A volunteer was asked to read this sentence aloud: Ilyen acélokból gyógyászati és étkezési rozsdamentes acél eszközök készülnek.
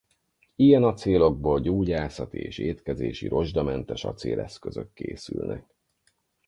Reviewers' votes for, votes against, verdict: 4, 0, accepted